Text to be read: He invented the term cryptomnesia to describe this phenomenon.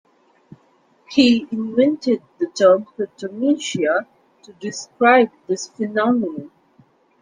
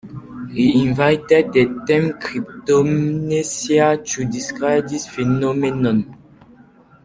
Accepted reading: first